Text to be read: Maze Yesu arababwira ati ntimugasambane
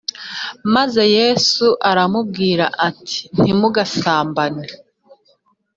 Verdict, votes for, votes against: rejected, 1, 2